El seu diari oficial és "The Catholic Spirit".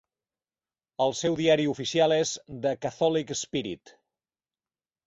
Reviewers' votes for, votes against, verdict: 4, 0, accepted